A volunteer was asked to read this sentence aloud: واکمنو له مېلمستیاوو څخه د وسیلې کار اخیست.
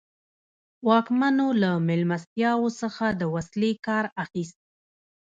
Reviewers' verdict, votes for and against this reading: rejected, 1, 2